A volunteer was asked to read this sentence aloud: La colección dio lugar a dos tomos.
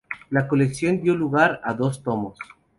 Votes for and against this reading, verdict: 4, 0, accepted